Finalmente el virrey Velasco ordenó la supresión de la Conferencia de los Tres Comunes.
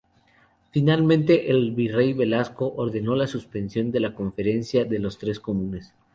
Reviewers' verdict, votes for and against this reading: rejected, 0, 2